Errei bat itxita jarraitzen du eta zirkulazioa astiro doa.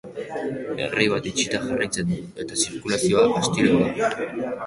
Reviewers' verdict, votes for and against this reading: accepted, 3, 1